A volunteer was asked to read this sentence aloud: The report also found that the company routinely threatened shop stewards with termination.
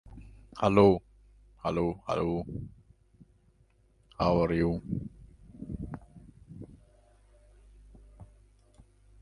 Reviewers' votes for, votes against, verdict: 0, 2, rejected